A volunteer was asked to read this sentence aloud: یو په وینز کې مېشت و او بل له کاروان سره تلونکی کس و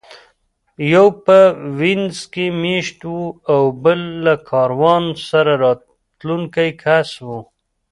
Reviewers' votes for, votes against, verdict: 2, 1, accepted